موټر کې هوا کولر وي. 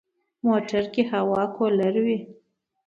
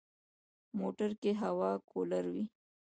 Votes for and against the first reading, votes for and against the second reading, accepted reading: 2, 0, 1, 2, first